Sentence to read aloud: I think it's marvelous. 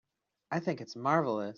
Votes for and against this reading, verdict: 2, 0, accepted